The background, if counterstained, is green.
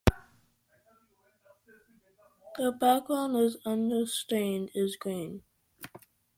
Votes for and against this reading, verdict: 1, 2, rejected